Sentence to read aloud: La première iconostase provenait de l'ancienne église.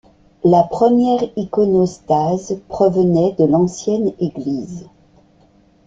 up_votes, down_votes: 1, 2